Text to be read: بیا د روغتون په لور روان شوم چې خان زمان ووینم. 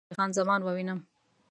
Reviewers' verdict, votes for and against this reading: rejected, 0, 2